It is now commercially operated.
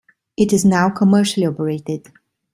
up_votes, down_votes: 2, 0